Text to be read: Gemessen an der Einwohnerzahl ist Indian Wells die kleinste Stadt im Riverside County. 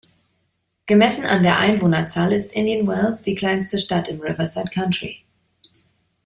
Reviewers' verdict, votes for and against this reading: rejected, 1, 2